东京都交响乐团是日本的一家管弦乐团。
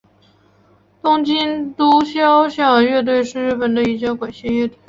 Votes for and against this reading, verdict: 1, 3, rejected